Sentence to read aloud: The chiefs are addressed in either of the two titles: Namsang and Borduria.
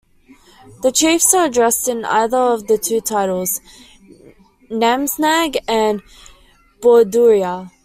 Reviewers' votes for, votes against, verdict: 2, 1, accepted